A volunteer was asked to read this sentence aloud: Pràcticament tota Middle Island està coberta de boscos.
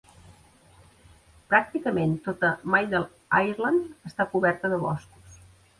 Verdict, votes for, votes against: rejected, 0, 2